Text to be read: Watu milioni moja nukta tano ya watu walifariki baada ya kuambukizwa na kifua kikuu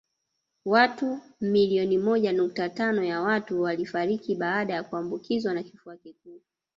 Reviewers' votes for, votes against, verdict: 0, 2, rejected